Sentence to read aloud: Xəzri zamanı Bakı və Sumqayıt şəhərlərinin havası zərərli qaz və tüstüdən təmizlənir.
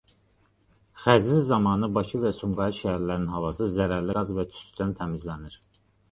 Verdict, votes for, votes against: accepted, 2, 0